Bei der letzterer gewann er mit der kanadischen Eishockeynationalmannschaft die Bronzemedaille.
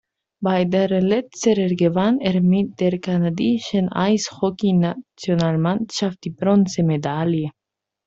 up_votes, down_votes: 1, 2